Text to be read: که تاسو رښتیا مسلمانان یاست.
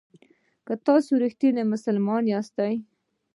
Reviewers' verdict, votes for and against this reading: rejected, 0, 2